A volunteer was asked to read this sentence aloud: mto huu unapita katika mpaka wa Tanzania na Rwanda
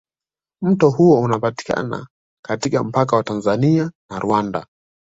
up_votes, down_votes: 0, 2